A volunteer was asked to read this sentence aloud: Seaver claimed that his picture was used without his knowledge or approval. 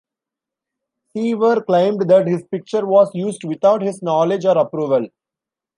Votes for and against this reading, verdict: 2, 1, accepted